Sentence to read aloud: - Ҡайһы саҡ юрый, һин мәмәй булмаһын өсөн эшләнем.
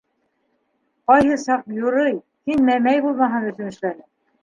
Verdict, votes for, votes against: accepted, 2, 1